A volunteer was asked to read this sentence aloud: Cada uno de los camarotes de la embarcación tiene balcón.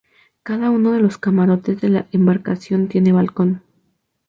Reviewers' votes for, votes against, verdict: 2, 0, accepted